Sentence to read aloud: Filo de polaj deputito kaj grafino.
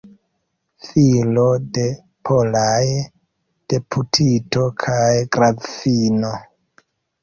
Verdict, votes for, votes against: accepted, 2, 0